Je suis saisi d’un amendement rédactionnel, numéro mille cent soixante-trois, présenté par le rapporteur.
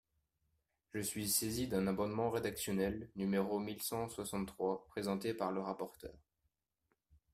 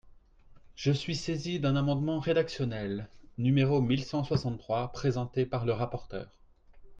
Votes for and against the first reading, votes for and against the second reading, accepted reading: 1, 2, 4, 0, second